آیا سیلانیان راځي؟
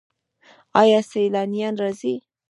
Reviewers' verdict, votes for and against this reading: rejected, 1, 2